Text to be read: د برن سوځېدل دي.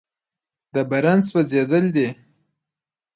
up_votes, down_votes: 2, 1